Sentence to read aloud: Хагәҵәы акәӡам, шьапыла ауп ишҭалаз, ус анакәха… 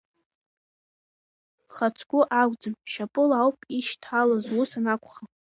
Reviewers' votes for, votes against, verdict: 0, 2, rejected